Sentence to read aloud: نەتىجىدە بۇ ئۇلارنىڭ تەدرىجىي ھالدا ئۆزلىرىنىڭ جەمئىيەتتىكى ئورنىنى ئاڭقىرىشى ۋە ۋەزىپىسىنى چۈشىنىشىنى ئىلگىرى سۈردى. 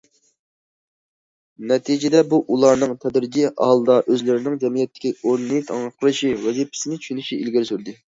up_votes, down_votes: 0, 2